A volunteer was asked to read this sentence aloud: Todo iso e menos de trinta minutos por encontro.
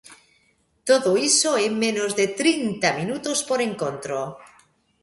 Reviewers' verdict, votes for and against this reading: accepted, 2, 0